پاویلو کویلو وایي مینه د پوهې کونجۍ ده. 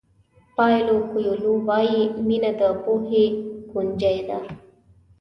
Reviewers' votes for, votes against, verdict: 2, 1, accepted